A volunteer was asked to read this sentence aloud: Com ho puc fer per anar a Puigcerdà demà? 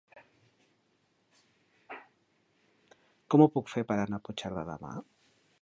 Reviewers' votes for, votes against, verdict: 1, 2, rejected